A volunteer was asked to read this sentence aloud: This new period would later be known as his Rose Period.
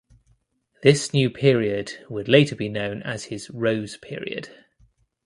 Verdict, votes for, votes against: accepted, 2, 0